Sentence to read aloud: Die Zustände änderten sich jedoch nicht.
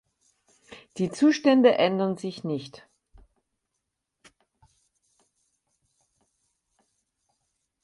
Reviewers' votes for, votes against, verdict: 0, 4, rejected